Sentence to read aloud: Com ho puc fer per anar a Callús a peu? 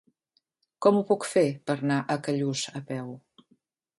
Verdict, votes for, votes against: rejected, 1, 2